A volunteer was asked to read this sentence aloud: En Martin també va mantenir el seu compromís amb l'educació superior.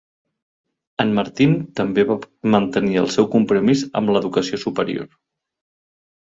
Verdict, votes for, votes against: accepted, 2, 0